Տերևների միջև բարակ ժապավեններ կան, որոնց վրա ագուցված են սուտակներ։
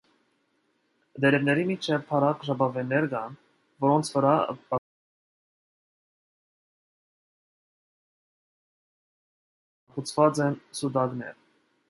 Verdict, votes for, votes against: rejected, 0, 2